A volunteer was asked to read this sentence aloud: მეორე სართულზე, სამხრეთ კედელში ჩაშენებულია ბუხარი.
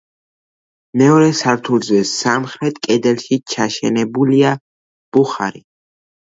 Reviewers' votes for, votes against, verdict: 2, 0, accepted